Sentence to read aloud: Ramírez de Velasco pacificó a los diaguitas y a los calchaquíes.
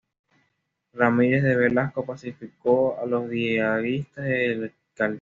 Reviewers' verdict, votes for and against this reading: rejected, 1, 2